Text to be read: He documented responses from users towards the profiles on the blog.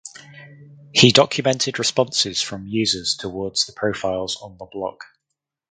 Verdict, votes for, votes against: accepted, 4, 0